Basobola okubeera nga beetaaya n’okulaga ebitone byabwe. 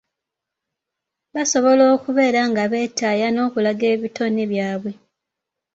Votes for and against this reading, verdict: 4, 0, accepted